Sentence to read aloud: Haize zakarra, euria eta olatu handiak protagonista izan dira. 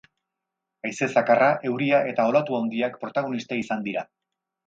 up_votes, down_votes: 4, 2